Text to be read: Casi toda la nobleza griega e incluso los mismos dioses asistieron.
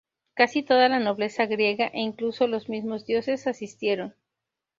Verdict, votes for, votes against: accepted, 2, 0